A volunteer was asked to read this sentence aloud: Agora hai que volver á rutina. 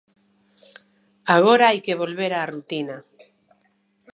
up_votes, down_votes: 2, 0